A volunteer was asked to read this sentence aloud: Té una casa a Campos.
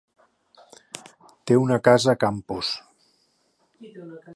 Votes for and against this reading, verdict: 2, 1, accepted